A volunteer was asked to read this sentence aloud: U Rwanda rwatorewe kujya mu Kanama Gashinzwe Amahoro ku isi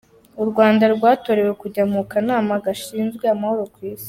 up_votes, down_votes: 2, 0